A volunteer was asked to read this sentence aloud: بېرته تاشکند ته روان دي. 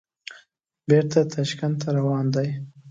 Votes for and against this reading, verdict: 2, 0, accepted